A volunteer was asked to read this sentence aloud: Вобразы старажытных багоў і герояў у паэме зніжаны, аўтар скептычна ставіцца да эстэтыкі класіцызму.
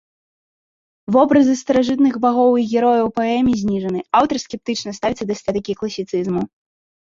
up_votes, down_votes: 1, 2